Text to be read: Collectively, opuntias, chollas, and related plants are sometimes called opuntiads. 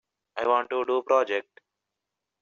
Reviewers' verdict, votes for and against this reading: rejected, 0, 2